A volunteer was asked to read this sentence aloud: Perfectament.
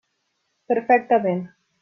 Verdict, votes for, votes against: accepted, 3, 0